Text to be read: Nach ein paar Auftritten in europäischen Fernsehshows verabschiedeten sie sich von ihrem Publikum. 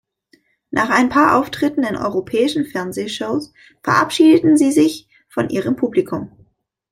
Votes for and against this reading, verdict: 2, 0, accepted